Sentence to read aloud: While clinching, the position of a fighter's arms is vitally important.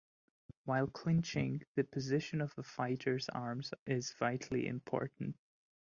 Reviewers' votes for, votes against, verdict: 2, 1, accepted